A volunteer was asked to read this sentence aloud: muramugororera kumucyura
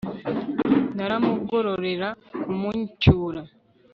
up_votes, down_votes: 1, 2